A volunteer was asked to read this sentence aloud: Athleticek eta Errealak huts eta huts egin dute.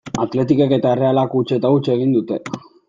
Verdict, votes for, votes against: accepted, 2, 0